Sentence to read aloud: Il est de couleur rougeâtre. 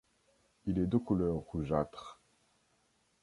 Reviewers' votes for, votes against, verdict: 2, 0, accepted